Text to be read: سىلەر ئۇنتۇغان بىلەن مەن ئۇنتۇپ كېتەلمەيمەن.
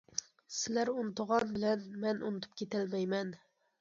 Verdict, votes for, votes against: accepted, 2, 0